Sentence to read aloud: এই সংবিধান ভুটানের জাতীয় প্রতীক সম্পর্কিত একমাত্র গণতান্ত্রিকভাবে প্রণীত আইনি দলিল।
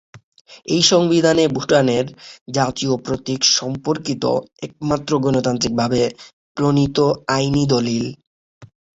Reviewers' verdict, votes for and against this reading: accepted, 3, 0